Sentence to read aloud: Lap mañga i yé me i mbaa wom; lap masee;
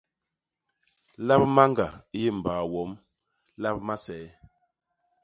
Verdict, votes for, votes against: rejected, 0, 2